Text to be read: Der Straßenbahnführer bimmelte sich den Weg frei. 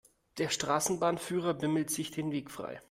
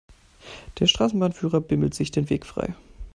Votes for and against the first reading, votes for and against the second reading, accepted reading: 2, 0, 0, 2, first